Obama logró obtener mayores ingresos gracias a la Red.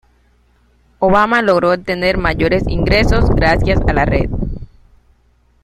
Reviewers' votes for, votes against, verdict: 1, 2, rejected